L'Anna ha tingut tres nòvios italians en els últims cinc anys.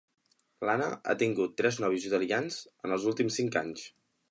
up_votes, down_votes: 2, 0